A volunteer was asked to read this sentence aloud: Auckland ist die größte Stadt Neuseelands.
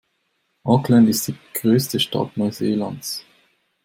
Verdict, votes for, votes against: accepted, 2, 0